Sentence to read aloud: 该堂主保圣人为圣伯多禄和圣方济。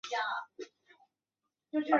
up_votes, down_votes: 0, 2